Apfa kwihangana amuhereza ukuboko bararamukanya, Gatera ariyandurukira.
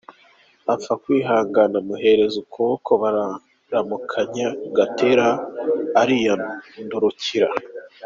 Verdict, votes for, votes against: accepted, 2, 1